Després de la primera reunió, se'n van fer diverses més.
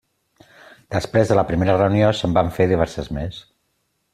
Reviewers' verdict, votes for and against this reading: accepted, 3, 0